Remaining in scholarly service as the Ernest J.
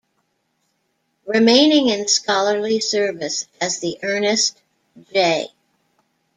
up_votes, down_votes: 0, 2